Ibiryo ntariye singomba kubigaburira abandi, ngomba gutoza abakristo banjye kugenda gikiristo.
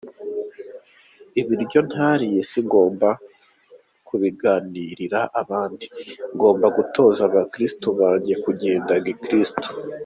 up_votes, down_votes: 0, 2